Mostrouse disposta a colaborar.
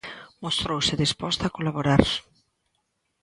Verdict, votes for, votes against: accepted, 2, 0